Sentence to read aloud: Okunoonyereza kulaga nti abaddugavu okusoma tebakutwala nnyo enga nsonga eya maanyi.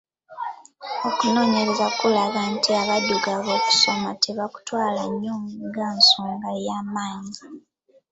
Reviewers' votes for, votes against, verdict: 0, 2, rejected